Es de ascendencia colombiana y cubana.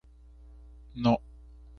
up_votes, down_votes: 0, 2